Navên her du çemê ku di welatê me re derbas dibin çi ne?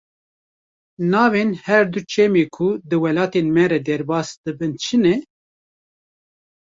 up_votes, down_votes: 1, 2